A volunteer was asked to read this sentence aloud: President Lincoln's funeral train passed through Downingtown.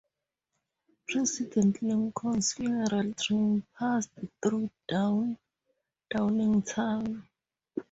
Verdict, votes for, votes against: rejected, 0, 4